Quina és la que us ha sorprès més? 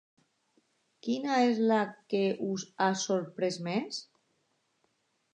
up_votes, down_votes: 2, 0